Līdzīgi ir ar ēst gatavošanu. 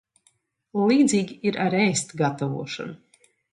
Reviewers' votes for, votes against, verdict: 2, 0, accepted